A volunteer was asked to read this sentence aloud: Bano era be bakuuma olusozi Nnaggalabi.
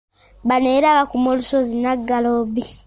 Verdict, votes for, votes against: rejected, 0, 2